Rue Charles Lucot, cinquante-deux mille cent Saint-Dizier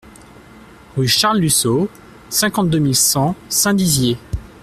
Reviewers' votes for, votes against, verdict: 1, 2, rejected